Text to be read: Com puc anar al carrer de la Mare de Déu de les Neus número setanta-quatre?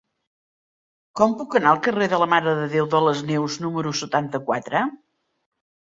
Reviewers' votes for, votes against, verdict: 3, 0, accepted